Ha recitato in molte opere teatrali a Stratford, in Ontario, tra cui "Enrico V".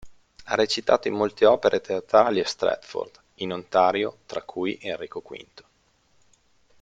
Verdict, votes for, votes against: accepted, 2, 0